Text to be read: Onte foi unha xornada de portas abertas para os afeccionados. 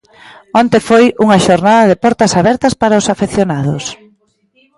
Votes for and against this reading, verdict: 1, 2, rejected